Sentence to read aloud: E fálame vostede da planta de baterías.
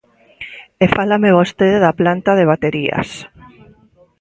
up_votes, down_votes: 2, 0